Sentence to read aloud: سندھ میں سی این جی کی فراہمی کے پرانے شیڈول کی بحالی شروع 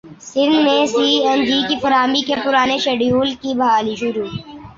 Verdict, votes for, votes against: rejected, 0, 2